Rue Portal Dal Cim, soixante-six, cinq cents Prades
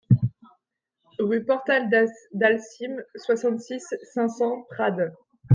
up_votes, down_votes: 1, 2